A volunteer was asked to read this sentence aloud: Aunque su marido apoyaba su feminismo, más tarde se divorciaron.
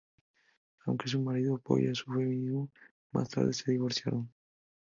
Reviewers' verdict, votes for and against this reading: rejected, 0, 2